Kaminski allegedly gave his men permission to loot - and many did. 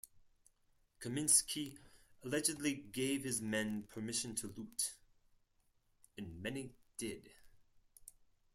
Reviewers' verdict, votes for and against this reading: rejected, 2, 4